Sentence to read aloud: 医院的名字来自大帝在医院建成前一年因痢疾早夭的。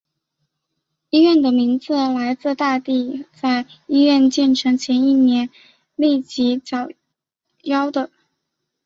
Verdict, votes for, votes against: rejected, 0, 2